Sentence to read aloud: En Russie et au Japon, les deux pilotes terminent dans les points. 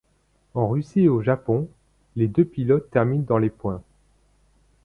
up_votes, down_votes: 2, 0